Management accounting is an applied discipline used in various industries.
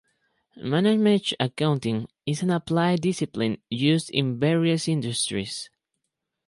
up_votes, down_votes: 4, 2